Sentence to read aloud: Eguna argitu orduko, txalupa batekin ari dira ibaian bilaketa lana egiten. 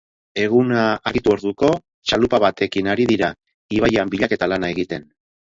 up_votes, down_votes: 0, 4